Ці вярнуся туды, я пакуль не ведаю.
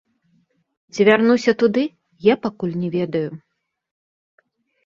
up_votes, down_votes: 0, 2